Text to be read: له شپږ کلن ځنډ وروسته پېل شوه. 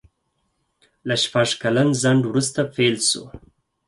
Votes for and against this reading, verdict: 2, 4, rejected